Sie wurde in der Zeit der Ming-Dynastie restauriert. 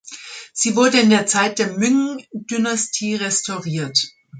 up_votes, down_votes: 0, 2